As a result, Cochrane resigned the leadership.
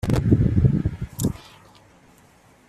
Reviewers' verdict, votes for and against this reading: rejected, 0, 2